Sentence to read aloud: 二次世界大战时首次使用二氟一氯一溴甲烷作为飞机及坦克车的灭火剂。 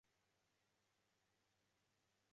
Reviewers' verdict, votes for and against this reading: rejected, 1, 4